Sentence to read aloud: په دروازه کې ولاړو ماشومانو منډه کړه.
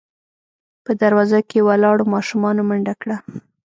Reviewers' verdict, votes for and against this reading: accepted, 2, 0